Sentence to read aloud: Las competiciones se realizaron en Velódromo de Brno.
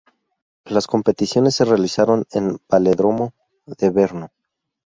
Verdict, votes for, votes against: rejected, 0, 2